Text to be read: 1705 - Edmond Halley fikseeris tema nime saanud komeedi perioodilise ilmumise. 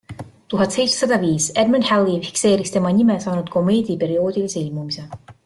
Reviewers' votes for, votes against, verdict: 0, 2, rejected